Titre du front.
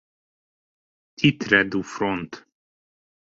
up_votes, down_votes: 2, 1